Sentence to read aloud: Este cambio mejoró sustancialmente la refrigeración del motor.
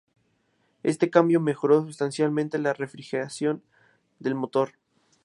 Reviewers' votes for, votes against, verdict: 2, 0, accepted